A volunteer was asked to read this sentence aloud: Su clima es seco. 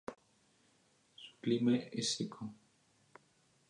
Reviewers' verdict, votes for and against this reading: accepted, 2, 0